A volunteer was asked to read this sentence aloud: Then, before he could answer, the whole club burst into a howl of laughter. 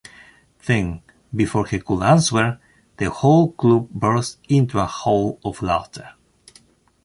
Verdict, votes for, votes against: accepted, 2, 0